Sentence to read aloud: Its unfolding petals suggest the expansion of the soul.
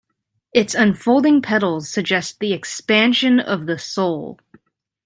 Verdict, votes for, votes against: accepted, 2, 0